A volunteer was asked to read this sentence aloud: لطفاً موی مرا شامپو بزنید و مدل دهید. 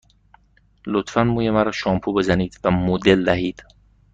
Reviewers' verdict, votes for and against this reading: accepted, 2, 0